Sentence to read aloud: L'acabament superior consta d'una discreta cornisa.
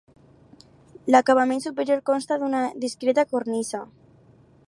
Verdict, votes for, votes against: accepted, 2, 0